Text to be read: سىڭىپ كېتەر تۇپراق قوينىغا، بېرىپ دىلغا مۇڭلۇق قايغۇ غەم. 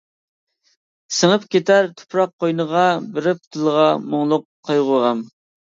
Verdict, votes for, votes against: rejected, 1, 2